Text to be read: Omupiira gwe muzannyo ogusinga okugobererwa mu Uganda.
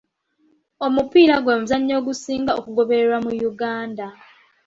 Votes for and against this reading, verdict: 1, 3, rejected